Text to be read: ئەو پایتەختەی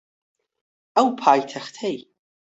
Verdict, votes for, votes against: accepted, 4, 0